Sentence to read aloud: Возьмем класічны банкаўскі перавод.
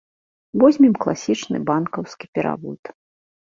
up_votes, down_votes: 2, 0